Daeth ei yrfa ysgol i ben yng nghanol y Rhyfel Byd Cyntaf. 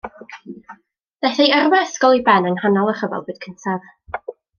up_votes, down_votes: 2, 1